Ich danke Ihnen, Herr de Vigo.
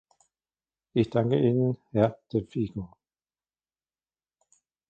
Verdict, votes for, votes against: rejected, 1, 2